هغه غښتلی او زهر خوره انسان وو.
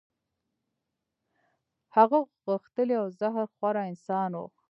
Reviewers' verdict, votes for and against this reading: rejected, 1, 2